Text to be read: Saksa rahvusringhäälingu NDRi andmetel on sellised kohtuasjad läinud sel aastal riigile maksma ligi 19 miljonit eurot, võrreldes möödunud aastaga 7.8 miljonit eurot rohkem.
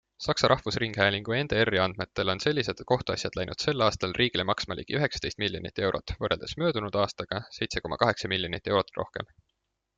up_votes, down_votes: 0, 2